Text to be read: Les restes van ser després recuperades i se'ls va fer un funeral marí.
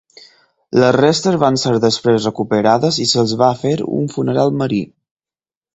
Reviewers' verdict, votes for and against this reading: accepted, 4, 0